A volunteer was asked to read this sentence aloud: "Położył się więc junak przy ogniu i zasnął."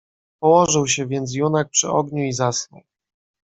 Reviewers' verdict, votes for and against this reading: accepted, 2, 0